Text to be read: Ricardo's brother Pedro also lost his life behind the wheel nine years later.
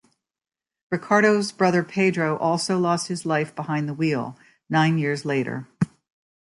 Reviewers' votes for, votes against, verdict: 2, 0, accepted